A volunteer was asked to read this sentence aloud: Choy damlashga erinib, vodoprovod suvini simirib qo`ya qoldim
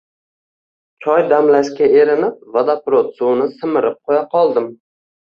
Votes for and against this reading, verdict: 2, 0, accepted